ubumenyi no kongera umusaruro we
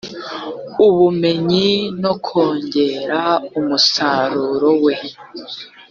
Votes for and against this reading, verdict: 3, 0, accepted